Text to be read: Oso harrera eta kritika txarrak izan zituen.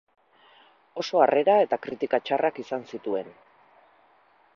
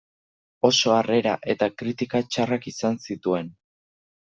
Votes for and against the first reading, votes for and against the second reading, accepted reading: 2, 2, 2, 0, second